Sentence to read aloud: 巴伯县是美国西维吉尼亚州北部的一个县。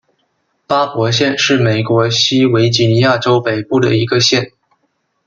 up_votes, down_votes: 2, 0